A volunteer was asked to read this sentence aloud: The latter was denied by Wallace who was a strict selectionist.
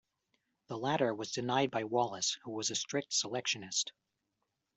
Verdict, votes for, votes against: accepted, 2, 0